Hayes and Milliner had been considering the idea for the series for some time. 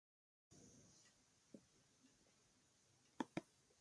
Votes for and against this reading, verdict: 0, 4, rejected